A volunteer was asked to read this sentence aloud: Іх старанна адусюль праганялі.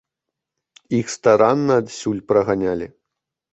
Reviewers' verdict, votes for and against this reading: rejected, 0, 2